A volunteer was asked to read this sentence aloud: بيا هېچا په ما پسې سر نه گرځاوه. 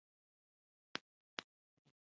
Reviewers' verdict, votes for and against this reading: rejected, 1, 2